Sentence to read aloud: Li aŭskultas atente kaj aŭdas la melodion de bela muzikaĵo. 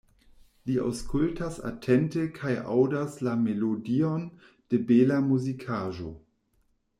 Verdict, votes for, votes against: accepted, 2, 0